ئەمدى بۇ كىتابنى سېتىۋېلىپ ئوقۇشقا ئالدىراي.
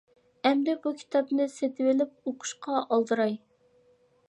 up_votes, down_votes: 3, 0